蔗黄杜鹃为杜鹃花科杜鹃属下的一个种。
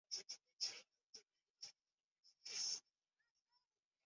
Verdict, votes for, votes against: rejected, 0, 2